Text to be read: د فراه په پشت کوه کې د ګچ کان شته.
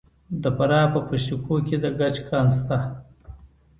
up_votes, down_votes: 2, 0